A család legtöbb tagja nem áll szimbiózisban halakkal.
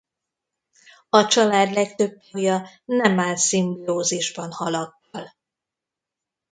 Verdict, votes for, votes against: rejected, 0, 2